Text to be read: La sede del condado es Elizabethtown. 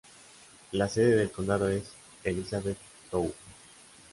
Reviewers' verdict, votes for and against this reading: rejected, 1, 2